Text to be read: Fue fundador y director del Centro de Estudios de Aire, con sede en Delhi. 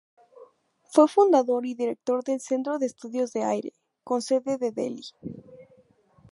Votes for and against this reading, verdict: 0, 2, rejected